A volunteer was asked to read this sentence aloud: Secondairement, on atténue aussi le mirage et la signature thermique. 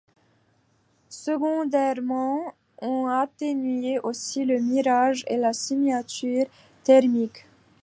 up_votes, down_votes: 1, 2